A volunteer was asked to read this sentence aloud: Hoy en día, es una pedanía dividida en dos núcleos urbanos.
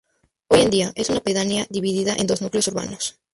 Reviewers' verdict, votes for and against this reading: accepted, 2, 0